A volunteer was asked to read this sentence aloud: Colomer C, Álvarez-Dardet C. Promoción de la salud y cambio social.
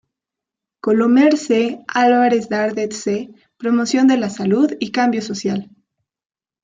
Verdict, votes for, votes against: accepted, 2, 1